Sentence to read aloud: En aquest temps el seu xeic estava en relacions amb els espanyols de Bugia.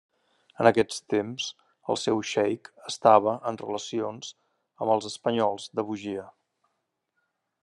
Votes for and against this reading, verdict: 2, 0, accepted